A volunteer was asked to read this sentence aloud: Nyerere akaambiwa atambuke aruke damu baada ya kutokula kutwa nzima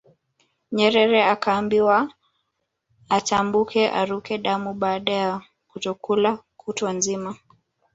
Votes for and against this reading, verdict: 2, 0, accepted